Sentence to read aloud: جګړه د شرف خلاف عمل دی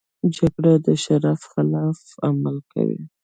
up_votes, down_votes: 2, 0